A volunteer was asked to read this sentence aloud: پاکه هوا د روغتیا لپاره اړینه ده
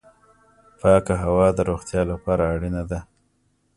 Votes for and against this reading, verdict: 2, 0, accepted